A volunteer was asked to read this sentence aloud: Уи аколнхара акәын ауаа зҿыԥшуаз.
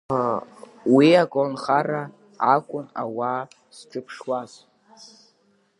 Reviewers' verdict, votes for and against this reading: rejected, 0, 2